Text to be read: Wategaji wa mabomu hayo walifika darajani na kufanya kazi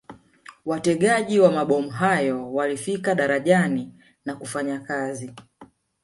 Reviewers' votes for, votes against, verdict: 1, 2, rejected